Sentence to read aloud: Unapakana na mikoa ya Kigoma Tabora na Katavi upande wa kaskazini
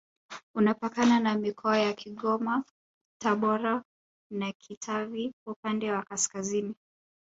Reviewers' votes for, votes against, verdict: 1, 2, rejected